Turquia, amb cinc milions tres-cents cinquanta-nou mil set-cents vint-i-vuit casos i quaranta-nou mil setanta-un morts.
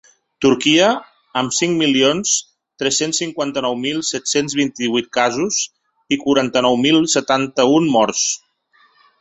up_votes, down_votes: 5, 0